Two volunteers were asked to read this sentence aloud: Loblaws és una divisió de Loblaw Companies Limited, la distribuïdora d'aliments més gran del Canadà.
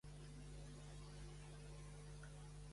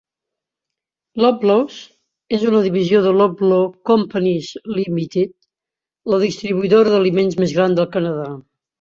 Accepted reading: second